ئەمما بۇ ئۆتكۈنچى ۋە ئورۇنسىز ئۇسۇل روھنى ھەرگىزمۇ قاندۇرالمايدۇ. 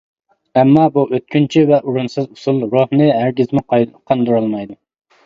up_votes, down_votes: 0, 2